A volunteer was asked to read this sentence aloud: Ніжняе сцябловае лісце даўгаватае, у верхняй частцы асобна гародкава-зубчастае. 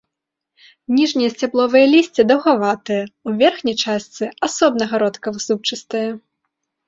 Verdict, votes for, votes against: rejected, 1, 2